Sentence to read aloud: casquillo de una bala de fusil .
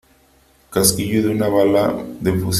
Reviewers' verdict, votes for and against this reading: rejected, 1, 2